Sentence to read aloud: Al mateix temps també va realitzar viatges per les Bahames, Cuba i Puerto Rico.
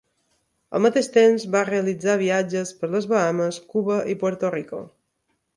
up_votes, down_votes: 2, 3